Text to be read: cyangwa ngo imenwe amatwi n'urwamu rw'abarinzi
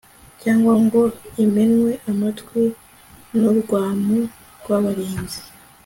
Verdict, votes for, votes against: accepted, 2, 0